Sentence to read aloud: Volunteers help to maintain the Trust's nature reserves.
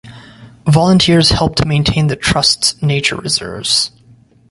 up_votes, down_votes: 2, 0